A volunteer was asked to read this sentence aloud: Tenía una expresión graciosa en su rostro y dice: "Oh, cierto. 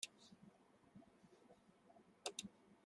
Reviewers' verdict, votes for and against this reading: rejected, 0, 2